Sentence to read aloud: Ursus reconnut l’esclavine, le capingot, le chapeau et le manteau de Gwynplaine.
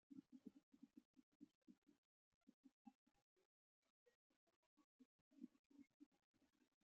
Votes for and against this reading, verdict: 0, 2, rejected